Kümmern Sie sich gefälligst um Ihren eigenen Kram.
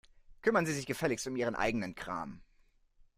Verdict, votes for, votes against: accepted, 2, 0